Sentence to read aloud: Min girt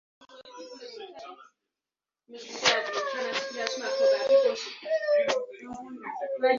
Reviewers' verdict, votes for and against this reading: rejected, 0, 2